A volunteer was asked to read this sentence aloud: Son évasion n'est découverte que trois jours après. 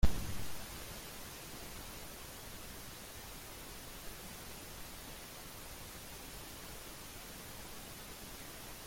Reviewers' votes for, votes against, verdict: 0, 2, rejected